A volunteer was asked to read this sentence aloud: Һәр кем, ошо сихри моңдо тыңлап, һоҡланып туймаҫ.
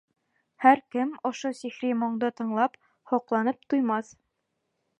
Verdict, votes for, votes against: rejected, 1, 2